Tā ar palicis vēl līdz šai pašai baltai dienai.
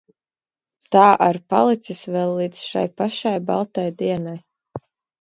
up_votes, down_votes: 2, 0